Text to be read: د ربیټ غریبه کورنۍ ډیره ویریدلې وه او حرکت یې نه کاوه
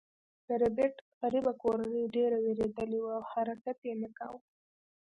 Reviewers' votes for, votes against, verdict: 1, 2, rejected